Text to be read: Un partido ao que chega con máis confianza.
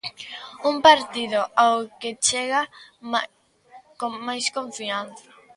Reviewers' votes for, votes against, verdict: 0, 2, rejected